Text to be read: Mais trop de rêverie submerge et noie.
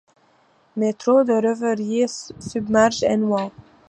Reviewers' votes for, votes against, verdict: 0, 2, rejected